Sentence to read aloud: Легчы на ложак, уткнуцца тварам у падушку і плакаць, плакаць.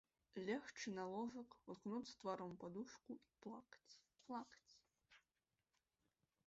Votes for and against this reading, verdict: 4, 0, accepted